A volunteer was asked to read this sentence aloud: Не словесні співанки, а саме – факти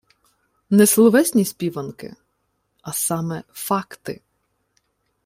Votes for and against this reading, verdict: 2, 0, accepted